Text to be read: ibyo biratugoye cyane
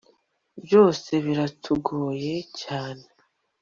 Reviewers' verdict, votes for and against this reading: accepted, 2, 0